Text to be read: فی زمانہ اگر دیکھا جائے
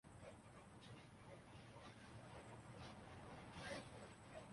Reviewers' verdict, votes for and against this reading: rejected, 0, 2